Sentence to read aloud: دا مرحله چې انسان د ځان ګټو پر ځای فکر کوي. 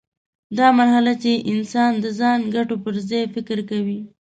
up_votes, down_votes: 9, 0